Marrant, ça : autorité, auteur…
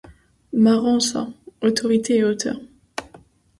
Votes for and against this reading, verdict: 1, 2, rejected